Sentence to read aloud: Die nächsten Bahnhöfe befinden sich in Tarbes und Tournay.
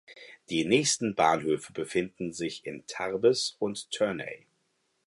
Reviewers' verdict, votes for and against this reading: accepted, 4, 0